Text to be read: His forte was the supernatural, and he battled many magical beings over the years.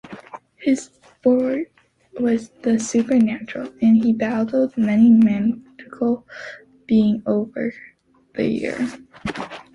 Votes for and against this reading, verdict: 1, 2, rejected